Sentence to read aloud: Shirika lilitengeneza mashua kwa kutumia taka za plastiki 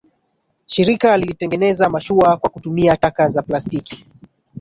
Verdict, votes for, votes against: rejected, 0, 2